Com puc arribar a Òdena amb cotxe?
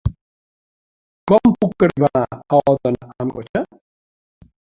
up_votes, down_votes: 0, 2